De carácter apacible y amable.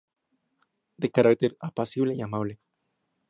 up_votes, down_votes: 2, 0